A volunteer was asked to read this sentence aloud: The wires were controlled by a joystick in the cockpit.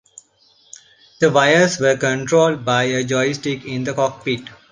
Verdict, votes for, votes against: accepted, 2, 0